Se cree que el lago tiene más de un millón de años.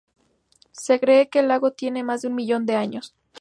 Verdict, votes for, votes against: rejected, 2, 2